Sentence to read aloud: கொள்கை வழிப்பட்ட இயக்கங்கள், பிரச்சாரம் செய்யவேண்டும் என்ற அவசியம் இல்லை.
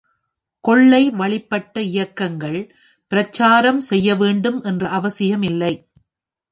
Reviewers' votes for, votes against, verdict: 3, 0, accepted